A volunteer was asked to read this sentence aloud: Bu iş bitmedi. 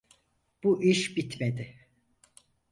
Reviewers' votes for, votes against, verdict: 4, 0, accepted